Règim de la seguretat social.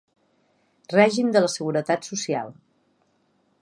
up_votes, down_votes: 3, 0